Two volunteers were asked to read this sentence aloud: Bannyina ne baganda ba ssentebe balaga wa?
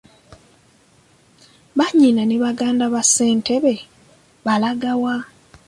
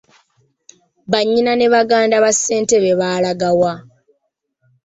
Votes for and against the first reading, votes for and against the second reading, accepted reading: 2, 0, 1, 2, first